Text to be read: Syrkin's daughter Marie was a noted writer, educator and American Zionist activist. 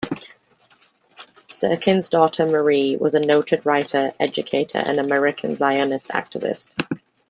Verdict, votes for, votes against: accepted, 2, 0